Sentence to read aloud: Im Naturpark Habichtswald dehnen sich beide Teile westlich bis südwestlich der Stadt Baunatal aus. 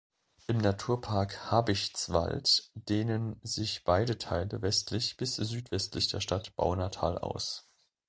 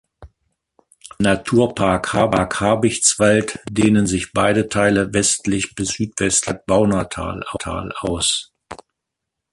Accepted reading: first